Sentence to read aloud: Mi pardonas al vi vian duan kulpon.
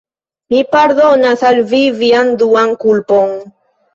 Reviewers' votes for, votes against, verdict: 2, 1, accepted